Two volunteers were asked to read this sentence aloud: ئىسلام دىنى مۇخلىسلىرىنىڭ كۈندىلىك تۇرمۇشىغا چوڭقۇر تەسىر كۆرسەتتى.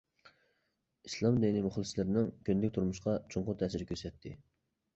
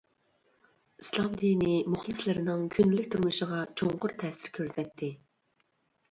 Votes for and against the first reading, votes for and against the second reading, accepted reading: 1, 2, 2, 0, second